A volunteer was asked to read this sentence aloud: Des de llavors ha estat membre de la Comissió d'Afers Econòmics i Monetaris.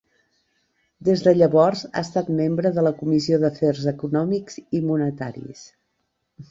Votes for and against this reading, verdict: 2, 0, accepted